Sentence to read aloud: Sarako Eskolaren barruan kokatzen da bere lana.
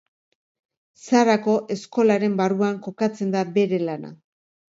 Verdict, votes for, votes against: accepted, 2, 0